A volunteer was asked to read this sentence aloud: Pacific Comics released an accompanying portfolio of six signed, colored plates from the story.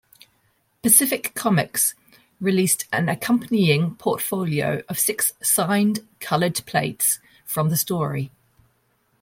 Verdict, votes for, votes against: accepted, 2, 0